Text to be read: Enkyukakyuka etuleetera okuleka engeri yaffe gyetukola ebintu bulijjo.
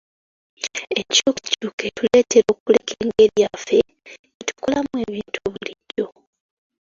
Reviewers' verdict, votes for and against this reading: rejected, 1, 2